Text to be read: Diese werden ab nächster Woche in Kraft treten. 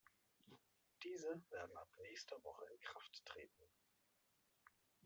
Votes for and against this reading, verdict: 1, 2, rejected